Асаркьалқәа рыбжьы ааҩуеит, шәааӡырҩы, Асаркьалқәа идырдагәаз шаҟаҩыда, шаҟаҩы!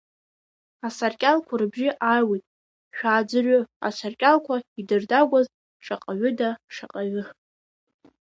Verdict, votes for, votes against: rejected, 0, 2